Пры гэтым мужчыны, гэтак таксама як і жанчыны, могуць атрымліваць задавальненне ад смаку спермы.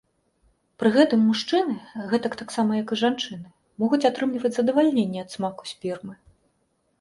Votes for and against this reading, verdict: 2, 0, accepted